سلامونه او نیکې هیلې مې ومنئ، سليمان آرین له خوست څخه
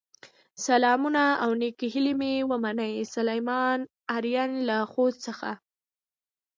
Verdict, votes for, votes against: accepted, 2, 0